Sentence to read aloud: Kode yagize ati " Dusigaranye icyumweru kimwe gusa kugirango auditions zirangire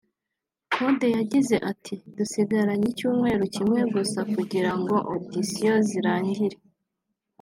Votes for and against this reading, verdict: 2, 0, accepted